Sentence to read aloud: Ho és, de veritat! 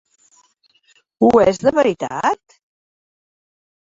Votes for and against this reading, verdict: 0, 3, rejected